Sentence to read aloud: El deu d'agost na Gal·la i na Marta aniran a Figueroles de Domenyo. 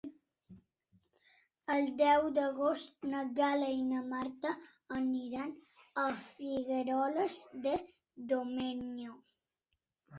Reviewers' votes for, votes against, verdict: 3, 0, accepted